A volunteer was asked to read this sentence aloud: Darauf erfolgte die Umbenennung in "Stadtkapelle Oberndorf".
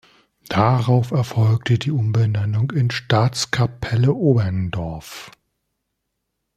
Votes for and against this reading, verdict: 1, 2, rejected